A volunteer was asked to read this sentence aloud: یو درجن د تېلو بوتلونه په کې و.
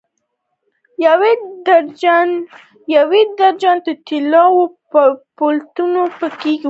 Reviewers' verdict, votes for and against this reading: rejected, 1, 2